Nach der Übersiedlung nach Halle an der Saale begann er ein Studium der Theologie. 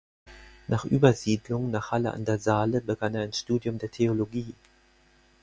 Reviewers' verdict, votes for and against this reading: rejected, 2, 4